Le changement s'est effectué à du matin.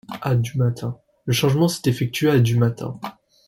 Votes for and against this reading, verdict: 0, 2, rejected